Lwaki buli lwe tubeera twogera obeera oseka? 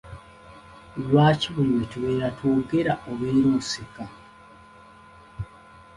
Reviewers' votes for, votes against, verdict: 2, 0, accepted